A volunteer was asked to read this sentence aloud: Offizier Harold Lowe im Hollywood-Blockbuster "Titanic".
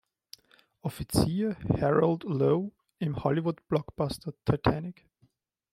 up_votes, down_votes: 1, 2